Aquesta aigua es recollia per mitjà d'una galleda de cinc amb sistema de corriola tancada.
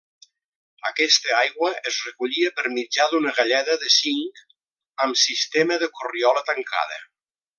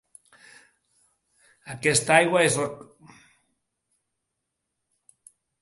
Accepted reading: first